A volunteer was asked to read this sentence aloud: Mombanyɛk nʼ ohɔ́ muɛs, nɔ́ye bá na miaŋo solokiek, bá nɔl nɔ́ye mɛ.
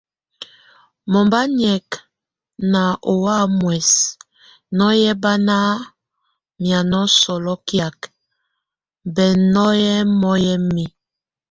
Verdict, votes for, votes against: rejected, 0, 2